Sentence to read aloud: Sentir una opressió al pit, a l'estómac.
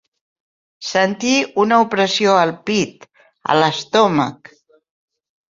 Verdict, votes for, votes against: accepted, 4, 1